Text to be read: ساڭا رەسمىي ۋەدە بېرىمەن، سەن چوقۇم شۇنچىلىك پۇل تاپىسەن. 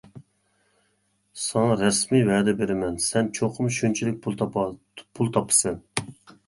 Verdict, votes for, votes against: rejected, 0, 2